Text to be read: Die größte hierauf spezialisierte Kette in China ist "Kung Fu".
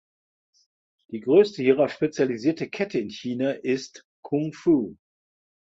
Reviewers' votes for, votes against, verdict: 2, 0, accepted